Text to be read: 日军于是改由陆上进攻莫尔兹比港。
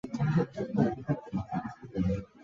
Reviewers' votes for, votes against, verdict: 0, 2, rejected